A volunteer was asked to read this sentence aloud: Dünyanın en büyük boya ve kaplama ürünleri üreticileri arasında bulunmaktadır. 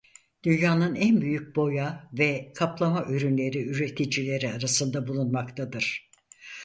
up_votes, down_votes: 4, 0